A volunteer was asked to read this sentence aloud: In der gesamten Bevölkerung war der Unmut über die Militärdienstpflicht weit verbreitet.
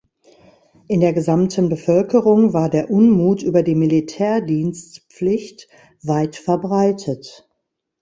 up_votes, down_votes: 2, 0